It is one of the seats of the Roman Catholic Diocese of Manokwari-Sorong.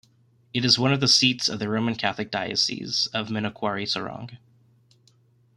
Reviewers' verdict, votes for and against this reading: accepted, 2, 0